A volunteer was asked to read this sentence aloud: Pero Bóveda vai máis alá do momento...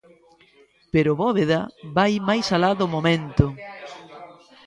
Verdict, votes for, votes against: rejected, 1, 2